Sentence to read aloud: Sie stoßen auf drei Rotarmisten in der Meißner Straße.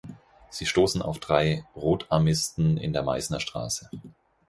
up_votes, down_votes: 4, 0